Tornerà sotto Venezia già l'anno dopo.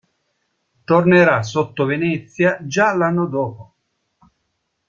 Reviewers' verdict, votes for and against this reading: rejected, 1, 2